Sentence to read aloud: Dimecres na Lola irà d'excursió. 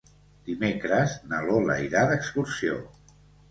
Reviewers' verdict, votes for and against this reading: accepted, 2, 0